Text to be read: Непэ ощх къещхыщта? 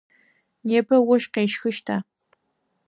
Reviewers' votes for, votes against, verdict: 4, 0, accepted